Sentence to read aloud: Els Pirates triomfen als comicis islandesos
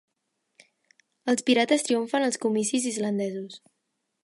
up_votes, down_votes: 2, 0